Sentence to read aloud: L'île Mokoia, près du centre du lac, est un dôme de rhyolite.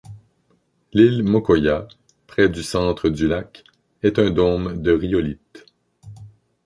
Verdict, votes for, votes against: accepted, 2, 0